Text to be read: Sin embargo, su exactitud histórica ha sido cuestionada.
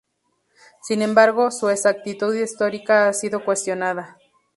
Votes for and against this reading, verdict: 2, 2, rejected